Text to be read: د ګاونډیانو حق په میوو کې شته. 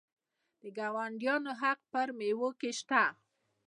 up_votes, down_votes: 2, 0